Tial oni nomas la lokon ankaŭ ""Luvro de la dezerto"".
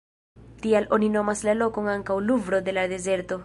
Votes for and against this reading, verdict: 1, 2, rejected